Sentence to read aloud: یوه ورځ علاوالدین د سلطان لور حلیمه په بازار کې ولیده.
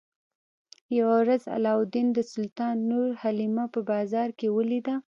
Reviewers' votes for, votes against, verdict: 2, 0, accepted